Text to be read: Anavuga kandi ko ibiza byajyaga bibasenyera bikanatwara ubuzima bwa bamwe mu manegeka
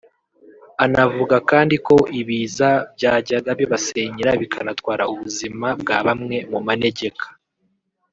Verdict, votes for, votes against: accepted, 2, 0